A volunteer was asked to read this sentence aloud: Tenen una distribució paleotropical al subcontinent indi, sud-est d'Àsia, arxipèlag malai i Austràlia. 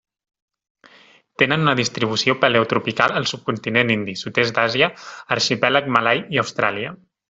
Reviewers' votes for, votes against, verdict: 2, 0, accepted